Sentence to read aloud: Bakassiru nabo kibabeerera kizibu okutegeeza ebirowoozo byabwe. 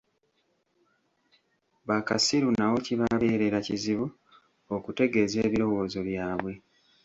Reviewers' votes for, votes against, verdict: 1, 2, rejected